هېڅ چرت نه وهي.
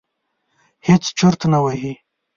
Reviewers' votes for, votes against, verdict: 2, 0, accepted